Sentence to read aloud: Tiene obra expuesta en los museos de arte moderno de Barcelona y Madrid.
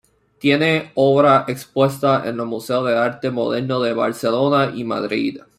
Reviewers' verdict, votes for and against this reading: rejected, 0, 2